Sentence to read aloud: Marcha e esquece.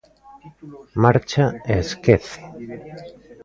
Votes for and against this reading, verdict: 1, 2, rejected